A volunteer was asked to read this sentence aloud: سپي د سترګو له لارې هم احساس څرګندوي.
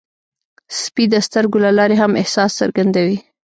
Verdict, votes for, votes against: rejected, 0, 2